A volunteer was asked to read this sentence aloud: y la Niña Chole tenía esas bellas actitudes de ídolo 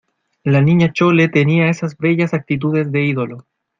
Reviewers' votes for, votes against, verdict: 2, 0, accepted